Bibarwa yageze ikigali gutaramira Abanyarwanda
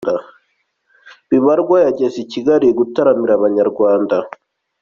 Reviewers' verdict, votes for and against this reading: accepted, 2, 0